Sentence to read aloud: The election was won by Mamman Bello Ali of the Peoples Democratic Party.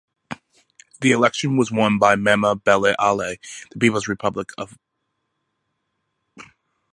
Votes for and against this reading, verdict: 0, 2, rejected